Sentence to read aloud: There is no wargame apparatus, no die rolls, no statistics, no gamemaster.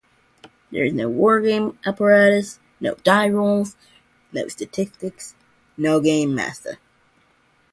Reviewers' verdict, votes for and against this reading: accepted, 2, 0